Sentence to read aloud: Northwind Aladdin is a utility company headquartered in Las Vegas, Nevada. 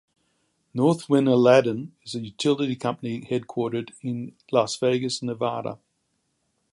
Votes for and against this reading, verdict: 2, 0, accepted